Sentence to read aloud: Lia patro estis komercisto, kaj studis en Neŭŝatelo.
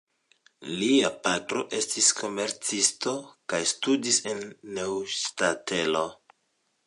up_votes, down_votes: 1, 2